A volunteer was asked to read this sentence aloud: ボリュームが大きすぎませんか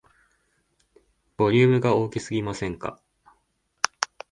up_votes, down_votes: 2, 0